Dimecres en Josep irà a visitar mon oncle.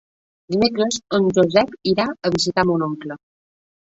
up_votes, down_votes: 1, 2